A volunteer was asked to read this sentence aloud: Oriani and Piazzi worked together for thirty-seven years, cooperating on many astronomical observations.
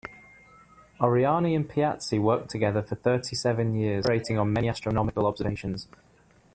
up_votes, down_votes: 2, 0